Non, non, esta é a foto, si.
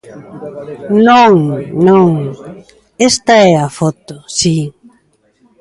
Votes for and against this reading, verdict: 2, 0, accepted